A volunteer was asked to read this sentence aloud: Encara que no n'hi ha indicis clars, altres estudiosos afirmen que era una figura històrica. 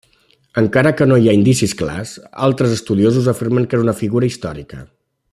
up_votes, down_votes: 2, 0